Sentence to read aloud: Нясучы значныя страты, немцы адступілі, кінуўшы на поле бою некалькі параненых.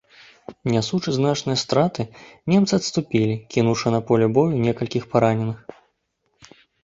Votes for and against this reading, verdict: 2, 3, rejected